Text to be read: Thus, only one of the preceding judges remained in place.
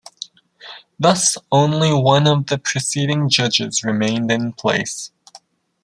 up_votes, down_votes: 2, 0